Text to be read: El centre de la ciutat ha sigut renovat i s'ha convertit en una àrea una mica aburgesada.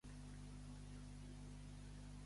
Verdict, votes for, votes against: rejected, 1, 2